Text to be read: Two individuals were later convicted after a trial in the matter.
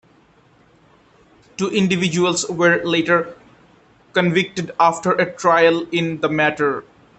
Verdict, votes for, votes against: accepted, 2, 1